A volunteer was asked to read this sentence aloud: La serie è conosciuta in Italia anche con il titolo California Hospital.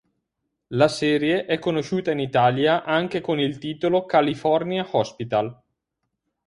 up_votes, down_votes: 4, 0